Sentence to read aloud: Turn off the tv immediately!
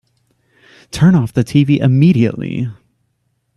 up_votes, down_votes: 3, 0